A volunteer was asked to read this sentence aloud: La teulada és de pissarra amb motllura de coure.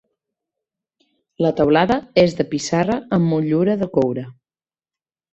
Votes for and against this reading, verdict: 2, 1, accepted